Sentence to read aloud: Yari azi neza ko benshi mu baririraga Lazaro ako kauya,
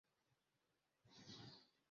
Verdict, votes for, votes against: rejected, 0, 2